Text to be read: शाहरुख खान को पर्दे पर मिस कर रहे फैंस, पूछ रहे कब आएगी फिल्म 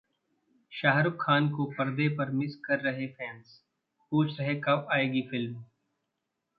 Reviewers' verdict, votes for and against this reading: rejected, 1, 2